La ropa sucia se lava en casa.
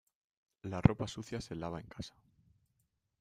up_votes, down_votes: 2, 1